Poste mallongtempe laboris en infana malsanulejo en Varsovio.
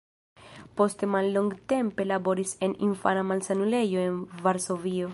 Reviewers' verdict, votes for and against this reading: accepted, 2, 0